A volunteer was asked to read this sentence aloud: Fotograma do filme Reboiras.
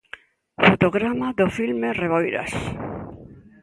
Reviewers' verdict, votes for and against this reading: accepted, 2, 0